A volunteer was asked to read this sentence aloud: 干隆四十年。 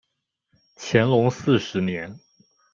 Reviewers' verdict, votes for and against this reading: rejected, 1, 2